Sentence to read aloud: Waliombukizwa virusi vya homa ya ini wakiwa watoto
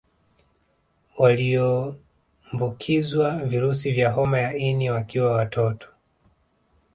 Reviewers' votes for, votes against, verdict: 0, 2, rejected